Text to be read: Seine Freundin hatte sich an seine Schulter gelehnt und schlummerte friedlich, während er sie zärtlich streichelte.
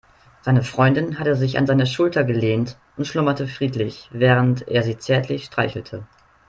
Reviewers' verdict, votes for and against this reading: accepted, 3, 0